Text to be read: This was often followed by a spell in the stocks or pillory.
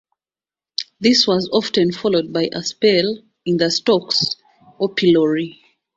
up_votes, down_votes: 2, 0